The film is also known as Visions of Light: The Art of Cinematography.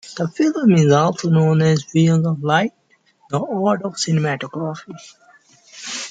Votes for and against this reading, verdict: 2, 1, accepted